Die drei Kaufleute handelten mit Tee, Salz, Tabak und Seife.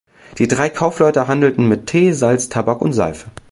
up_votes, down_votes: 2, 0